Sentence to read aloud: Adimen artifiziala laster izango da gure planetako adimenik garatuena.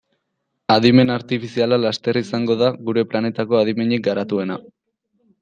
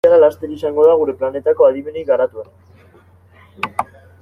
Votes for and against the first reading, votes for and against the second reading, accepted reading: 2, 0, 0, 2, first